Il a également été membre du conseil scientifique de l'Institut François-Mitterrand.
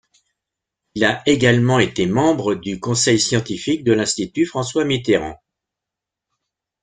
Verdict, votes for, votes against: accepted, 2, 0